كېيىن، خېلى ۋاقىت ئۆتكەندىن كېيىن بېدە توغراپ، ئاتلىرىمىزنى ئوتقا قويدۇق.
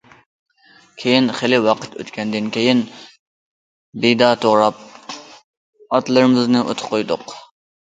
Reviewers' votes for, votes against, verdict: 0, 2, rejected